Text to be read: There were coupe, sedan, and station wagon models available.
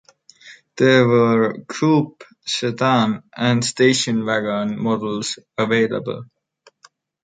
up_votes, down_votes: 2, 1